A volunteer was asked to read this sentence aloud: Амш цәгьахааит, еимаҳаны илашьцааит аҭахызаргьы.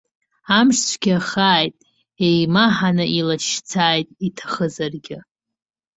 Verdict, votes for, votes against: rejected, 0, 2